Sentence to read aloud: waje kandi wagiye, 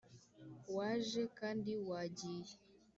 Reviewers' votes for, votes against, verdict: 2, 0, accepted